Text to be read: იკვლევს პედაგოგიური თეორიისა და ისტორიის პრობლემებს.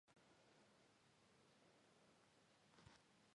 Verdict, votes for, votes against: rejected, 0, 2